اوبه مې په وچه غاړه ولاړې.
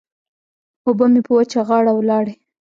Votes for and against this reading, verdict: 2, 0, accepted